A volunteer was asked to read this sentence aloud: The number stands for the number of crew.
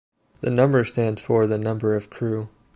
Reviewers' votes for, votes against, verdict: 2, 0, accepted